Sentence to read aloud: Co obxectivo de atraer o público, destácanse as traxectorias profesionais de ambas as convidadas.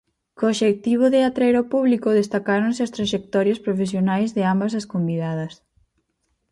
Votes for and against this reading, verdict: 2, 4, rejected